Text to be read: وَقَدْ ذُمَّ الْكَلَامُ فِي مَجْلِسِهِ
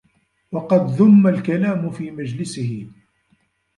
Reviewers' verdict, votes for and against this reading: accepted, 3, 1